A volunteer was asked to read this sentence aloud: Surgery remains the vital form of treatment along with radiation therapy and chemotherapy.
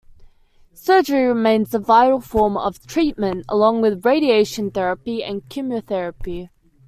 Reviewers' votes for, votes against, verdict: 2, 0, accepted